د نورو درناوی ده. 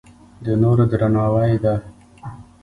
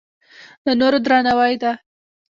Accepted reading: first